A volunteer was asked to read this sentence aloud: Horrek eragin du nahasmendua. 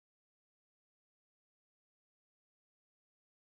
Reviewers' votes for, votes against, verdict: 0, 5, rejected